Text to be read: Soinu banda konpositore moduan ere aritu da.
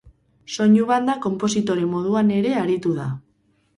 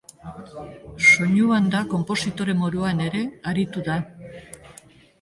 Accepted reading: first